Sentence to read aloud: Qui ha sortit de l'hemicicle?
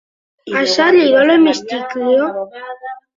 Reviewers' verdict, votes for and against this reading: rejected, 0, 3